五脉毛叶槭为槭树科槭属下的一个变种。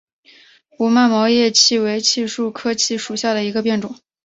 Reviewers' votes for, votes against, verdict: 2, 0, accepted